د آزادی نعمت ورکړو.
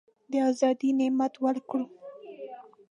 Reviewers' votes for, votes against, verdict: 2, 0, accepted